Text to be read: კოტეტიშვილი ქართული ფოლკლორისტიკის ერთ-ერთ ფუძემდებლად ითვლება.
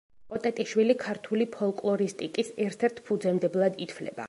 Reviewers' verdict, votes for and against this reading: accepted, 2, 0